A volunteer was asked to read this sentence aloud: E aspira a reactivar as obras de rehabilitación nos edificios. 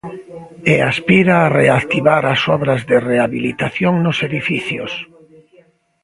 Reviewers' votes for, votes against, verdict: 1, 2, rejected